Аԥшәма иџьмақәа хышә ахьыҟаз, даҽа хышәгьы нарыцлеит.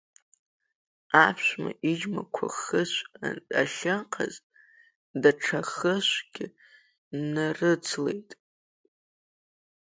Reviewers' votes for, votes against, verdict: 2, 1, accepted